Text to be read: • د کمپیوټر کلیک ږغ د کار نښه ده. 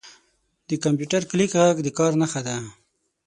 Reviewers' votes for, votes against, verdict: 6, 0, accepted